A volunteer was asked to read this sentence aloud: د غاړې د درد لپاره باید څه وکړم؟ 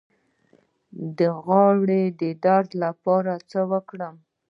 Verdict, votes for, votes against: rejected, 1, 2